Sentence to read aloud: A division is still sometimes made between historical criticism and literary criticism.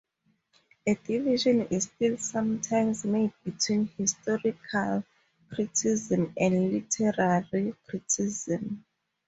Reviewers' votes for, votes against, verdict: 0, 2, rejected